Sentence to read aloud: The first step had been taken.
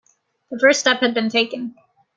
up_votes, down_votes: 2, 0